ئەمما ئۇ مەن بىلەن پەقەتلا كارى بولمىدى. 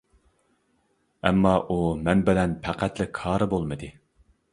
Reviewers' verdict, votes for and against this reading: accepted, 2, 0